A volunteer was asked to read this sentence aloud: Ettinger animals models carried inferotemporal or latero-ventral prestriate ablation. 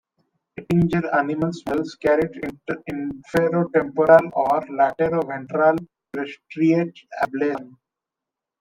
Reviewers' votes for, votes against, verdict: 1, 2, rejected